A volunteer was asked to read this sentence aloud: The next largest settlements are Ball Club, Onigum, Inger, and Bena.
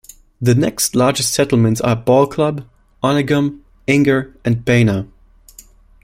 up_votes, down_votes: 2, 0